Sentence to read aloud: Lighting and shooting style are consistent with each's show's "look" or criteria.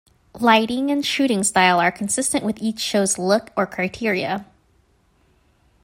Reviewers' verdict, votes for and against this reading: accepted, 2, 0